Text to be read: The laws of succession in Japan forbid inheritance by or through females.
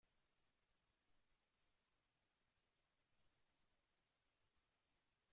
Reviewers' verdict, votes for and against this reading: rejected, 0, 2